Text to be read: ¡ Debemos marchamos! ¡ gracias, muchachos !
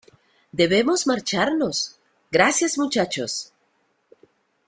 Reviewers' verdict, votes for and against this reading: accepted, 2, 1